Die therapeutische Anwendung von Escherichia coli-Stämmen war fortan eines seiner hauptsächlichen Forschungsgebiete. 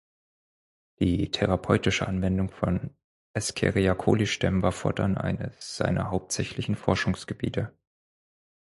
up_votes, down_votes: 2, 4